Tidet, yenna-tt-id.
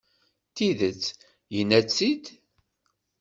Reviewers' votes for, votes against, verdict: 2, 0, accepted